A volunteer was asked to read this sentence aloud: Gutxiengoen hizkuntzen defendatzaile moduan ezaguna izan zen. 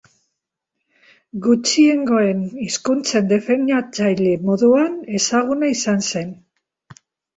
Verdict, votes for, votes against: rejected, 0, 2